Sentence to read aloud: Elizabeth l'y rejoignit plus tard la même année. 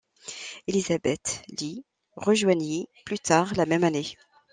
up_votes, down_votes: 2, 0